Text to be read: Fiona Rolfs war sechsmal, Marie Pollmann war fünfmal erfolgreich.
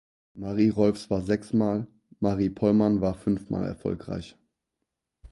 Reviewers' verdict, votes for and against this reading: rejected, 2, 4